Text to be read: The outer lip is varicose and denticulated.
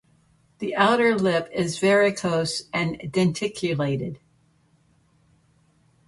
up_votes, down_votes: 2, 0